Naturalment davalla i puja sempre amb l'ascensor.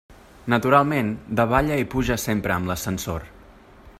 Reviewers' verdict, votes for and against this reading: accepted, 3, 0